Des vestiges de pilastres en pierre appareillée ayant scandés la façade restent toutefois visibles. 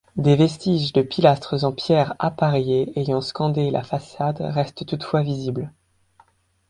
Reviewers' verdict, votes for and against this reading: accepted, 2, 0